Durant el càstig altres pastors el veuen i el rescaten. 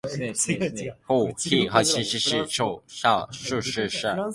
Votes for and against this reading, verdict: 1, 2, rejected